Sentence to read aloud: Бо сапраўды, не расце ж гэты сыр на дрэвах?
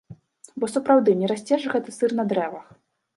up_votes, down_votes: 2, 0